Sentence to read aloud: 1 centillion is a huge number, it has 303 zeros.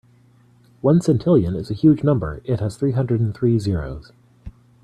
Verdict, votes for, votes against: rejected, 0, 2